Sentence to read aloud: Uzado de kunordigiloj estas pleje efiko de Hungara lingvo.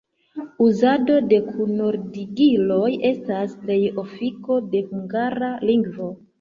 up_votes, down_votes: 1, 2